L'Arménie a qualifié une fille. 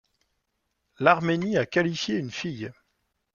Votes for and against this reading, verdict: 2, 0, accepted